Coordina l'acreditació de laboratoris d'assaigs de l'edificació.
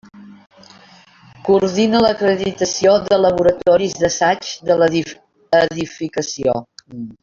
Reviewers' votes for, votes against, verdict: 0, 2, rejected